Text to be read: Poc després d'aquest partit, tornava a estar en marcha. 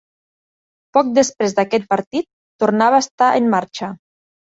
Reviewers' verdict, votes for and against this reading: accepted, 3, 0